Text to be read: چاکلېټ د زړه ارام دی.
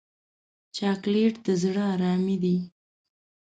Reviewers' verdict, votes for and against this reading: rejected, 1, 2